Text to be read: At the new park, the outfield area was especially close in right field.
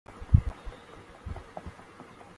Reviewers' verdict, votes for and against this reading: rejected, 0, 2